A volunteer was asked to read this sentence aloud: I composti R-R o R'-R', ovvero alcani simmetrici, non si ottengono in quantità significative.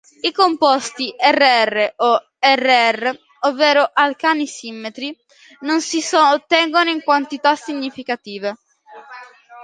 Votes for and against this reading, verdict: 0, 2, rejected